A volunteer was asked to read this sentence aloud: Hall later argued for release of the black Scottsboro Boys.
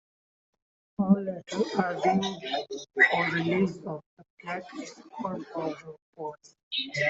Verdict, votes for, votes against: rejected, 0, 2